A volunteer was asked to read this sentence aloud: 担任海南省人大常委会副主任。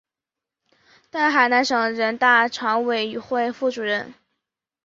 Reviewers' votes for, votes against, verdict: 0, 2, rejected